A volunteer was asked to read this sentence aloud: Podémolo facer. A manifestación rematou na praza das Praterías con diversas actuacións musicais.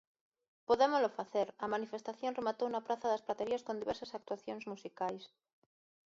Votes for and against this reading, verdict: 0, 2, rejected